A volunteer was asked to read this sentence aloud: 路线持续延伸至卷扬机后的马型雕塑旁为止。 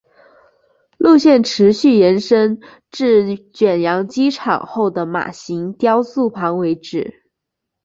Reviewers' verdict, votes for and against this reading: accepted, 3, 1